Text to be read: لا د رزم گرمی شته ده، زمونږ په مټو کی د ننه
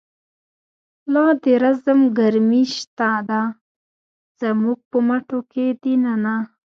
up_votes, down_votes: 0, 2